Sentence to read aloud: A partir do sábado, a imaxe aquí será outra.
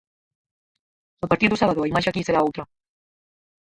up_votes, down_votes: 0, 6